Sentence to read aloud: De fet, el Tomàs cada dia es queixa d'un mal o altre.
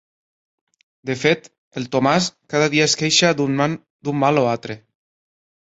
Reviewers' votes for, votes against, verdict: 0, 2, rejected